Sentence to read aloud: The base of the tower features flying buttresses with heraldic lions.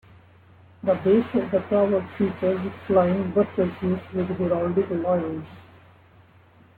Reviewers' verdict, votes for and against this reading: rejected, 0, 2